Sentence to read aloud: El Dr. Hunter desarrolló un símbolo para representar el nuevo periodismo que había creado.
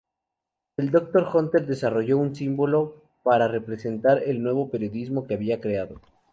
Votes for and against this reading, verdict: 2, 0, accepted